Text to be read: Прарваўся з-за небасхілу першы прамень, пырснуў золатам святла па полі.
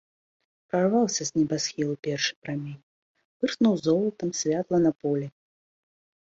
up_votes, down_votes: 0, 2